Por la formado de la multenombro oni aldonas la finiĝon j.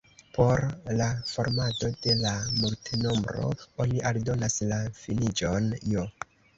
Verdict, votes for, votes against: rejected, 1, 2